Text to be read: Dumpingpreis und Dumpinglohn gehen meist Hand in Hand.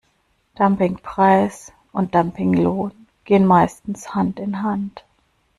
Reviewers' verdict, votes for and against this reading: rejected, 1, 2